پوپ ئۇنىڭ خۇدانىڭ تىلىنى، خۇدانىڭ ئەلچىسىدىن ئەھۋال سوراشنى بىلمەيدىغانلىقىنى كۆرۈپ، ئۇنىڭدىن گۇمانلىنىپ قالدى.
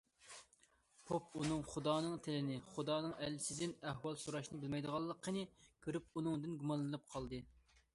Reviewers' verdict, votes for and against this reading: accepted, 2, 0